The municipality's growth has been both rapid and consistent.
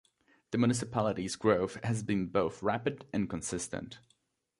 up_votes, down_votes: 2, 0